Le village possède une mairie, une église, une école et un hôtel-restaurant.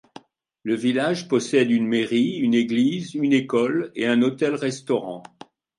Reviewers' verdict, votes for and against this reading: accepted, 2, 0